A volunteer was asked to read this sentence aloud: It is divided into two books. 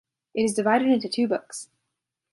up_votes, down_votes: 0, 2